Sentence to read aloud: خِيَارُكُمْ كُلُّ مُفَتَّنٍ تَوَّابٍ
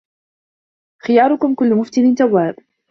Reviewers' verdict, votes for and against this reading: rejected, 1, 2